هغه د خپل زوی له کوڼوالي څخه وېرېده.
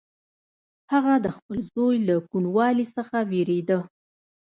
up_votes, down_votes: 1, 2